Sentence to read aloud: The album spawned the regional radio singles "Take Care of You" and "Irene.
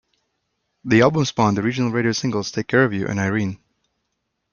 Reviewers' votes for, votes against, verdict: 2, 0, accepted